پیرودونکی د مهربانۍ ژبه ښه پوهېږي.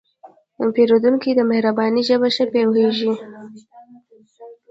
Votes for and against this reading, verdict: 2, 1, accepted